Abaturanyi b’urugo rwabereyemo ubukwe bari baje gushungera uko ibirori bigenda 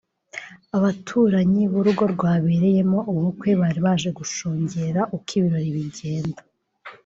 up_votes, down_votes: 0, 2